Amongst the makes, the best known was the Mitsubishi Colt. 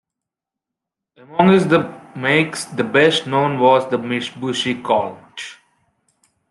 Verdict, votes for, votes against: rejected, 1, 2